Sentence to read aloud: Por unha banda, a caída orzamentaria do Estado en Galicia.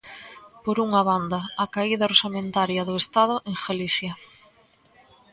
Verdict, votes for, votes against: rejected, 1, 2